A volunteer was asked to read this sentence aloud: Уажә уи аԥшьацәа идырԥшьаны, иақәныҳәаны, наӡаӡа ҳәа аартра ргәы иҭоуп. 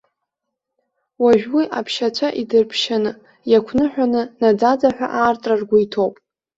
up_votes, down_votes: 0, 2